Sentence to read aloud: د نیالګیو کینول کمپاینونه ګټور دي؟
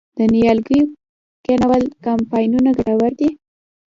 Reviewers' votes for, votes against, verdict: 2, 0, accepted